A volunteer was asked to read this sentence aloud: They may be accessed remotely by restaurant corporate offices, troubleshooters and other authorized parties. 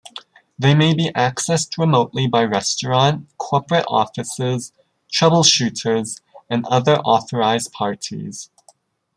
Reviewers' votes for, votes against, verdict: 1, 2, rejected